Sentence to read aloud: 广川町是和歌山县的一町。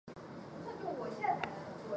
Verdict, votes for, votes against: rejected, 0, 2